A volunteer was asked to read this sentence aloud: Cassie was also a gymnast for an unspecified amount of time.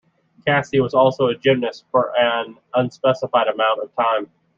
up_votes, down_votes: 2, 0